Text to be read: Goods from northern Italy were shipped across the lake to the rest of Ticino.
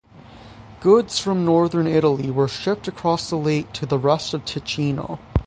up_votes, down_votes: 6, 0